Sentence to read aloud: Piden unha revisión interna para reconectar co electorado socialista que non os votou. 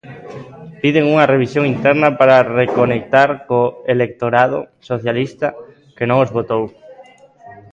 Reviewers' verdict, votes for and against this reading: accepted, 2, 0